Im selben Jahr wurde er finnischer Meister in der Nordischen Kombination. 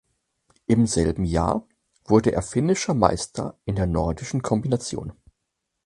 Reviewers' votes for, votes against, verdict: 4, 0, accepted